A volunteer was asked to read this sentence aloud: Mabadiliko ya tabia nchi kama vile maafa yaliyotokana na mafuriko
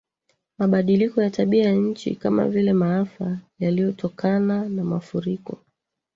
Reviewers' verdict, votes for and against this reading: rejected, 1, 2